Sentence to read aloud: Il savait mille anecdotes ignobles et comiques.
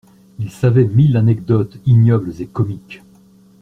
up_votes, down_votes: 2, 0